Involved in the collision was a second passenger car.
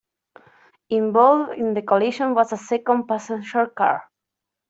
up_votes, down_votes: 2, 1